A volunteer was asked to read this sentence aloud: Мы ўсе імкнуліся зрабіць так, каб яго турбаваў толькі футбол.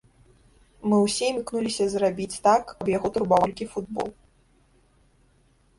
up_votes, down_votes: 0, 2